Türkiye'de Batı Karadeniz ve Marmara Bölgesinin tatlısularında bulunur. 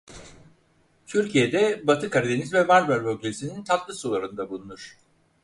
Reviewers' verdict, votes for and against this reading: accepted, 4, 0